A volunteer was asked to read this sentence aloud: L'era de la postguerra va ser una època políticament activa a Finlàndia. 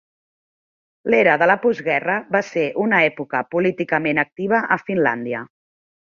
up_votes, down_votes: 3, 0